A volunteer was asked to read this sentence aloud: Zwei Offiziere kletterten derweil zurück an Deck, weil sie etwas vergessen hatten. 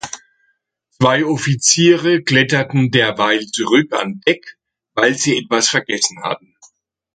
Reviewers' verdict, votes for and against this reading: rejected, 1, 2